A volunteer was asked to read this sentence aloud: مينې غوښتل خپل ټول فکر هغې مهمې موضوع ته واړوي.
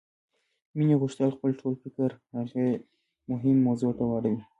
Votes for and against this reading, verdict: 2, 0, accepted